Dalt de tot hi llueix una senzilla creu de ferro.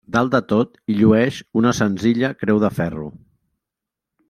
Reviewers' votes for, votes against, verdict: 1, 2, rejected